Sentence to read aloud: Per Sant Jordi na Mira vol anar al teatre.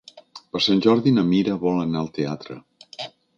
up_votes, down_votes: 2, 0